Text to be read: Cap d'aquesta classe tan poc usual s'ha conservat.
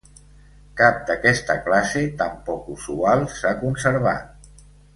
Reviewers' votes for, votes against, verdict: 1, 2, rejected